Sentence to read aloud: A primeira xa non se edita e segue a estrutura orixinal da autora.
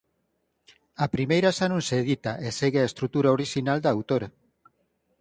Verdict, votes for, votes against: accepted, 4, 0